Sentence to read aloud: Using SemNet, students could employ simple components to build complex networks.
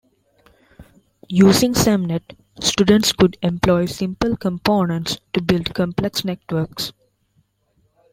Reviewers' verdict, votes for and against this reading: accepted, 2, 0